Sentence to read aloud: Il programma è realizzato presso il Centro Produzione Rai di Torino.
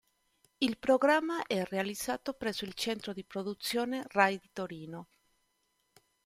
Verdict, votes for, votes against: rejected, 1, 2